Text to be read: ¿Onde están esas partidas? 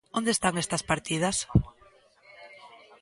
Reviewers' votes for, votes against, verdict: 0, 2, rejected